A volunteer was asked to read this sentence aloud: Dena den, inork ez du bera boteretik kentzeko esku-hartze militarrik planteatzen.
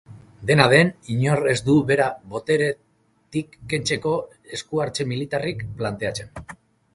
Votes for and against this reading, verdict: 0, 2, rejected